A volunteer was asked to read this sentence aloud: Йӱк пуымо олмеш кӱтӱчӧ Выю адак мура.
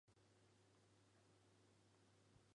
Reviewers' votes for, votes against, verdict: 1, 2, rejected